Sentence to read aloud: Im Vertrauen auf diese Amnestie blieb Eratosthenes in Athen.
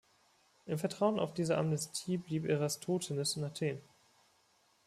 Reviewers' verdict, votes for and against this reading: accepted, 2, 0